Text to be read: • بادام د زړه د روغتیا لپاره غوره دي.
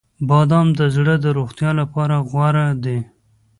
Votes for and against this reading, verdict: 2, 0, accepted